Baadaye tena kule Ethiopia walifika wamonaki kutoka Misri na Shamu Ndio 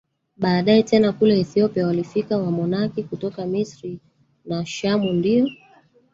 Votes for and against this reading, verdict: 1, 2, rejected